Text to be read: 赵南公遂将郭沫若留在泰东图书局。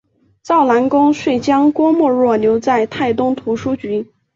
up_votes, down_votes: 5, 0